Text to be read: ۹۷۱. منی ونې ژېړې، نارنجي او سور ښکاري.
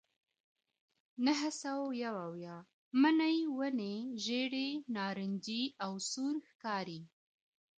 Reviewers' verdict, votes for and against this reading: rejected, 0, 2